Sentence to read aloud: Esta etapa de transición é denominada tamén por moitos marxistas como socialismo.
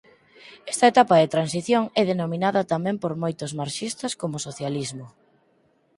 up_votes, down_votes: 4, 0